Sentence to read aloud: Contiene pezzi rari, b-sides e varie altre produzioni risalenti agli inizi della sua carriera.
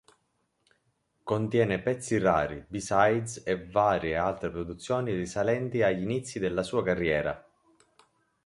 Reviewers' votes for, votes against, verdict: 3, 0, accepted